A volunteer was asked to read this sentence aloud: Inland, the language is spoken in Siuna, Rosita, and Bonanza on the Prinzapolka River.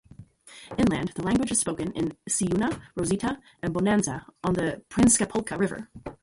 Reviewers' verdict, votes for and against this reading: rejected, 0, 2